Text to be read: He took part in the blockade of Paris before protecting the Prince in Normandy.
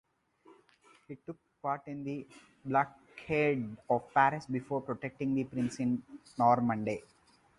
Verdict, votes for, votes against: rejected, 0, 4